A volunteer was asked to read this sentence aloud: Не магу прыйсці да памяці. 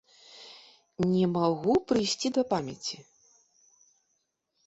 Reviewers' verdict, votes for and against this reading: accepted, 2, 0